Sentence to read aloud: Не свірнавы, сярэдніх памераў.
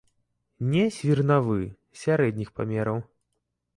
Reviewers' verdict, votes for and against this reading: accepted, 2, 0